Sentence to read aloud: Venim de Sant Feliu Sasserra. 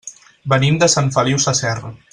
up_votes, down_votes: 6, 0